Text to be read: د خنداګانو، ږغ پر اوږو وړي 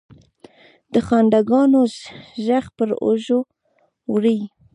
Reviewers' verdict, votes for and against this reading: accepted, 2, 0